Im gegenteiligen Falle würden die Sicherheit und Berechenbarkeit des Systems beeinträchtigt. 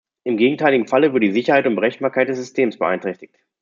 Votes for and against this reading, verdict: 1, 2, rejected